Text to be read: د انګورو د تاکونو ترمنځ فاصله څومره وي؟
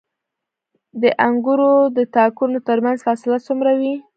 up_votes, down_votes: 1, 2